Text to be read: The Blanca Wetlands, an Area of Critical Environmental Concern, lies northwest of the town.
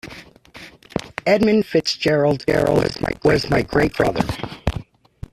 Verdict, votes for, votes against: rejected, 0, 2